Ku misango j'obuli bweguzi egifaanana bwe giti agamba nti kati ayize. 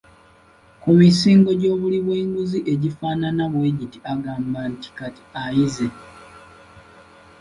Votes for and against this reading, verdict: 1, 2, rejected